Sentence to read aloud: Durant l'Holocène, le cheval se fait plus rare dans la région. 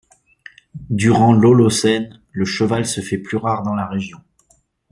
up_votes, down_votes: 2, 0